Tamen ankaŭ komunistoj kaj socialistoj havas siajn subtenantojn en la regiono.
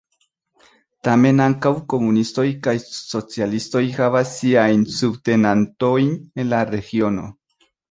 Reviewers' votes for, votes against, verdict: 2, 1, accepted